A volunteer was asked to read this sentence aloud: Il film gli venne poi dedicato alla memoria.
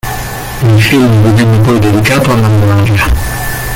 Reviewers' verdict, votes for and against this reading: rejected, 0, 2